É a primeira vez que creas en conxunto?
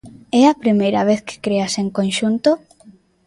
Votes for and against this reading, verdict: 2, 0, accepted